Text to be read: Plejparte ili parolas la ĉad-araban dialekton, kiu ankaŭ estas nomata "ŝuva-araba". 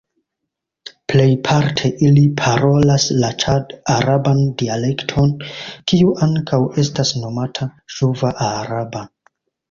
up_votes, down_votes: 1, 2